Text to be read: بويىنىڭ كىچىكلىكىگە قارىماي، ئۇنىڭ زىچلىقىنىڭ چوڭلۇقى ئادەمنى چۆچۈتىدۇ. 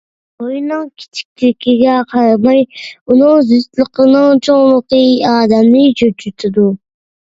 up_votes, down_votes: 2, 1